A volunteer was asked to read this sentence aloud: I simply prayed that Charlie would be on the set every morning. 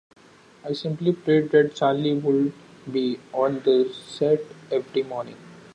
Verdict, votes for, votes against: accepted, 2, 0